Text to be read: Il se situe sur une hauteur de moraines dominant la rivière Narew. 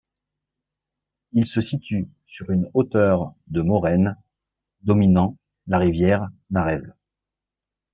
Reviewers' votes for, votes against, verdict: 2, 0, accepted